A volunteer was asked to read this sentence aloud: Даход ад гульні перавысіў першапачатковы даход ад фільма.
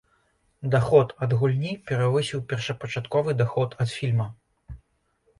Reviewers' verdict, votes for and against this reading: accepted, 2, 0